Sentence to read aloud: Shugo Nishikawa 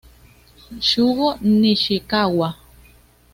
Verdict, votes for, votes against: accepted, 2, 0